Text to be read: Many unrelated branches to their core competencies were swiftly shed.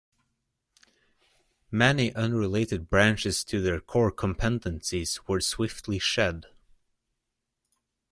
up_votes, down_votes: 0, 3